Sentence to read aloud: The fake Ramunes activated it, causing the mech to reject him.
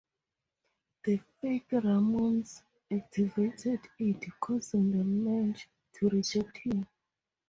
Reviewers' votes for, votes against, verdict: 0, 2, rejected